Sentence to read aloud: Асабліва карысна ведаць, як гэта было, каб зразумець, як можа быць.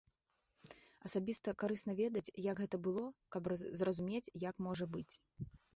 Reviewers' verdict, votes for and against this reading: rejected, 1, 2